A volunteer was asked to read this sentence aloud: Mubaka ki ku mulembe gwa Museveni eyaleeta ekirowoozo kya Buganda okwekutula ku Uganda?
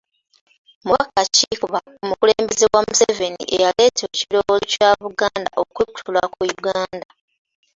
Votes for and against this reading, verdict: 0, 2, rejected